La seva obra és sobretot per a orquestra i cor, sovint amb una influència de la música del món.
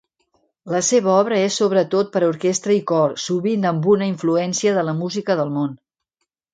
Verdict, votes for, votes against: accepted, 2, 0